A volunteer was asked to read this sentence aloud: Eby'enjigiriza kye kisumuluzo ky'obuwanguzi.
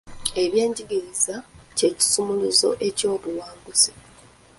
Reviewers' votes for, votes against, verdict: 0, 2, rejected